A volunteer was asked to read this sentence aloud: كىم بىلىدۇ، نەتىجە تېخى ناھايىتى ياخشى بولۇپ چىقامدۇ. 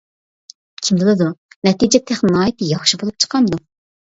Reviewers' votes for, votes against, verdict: 2, 0, accepted